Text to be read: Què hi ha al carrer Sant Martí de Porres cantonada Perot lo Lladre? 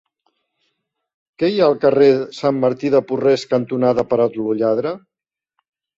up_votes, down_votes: 0, 2